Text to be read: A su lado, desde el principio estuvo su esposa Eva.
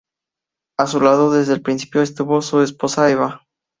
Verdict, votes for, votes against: accepted, 2, 0